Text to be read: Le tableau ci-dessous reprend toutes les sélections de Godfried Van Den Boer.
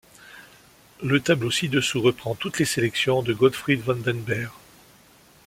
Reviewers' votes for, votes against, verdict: 1, 2, rejected